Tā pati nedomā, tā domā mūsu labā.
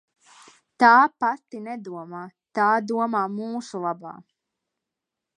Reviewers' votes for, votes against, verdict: 2, 0, accepted